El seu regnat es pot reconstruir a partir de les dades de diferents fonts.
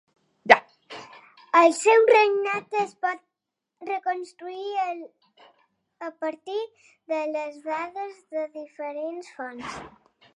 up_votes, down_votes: 2, 1